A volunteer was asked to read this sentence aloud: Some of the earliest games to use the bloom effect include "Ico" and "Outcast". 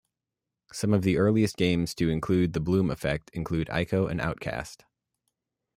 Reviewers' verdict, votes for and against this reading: rejected, 0, 2